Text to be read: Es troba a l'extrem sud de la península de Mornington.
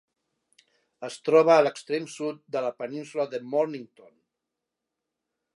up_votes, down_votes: 0, 2